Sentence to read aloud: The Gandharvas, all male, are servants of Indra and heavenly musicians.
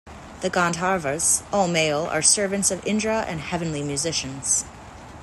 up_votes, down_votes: 2, 0